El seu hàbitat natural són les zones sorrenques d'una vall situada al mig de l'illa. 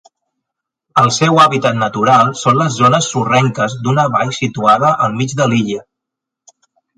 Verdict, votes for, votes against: accepted, 2, 0